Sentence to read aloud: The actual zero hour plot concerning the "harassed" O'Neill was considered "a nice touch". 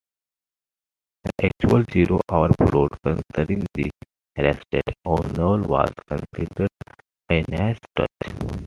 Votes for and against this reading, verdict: 1, 2, rejected